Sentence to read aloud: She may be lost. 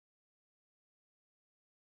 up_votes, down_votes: 0, 2